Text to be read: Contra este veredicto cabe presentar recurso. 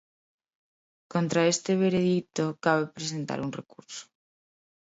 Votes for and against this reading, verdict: 0, 3, rejected